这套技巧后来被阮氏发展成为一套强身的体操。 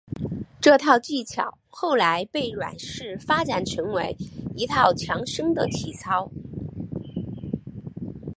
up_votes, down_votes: 6, 2